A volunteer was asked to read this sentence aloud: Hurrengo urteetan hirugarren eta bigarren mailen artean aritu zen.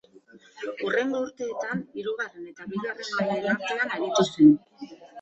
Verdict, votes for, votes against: rejected, 0, 2